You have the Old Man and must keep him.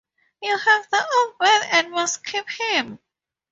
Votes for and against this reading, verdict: 4, 0, accepted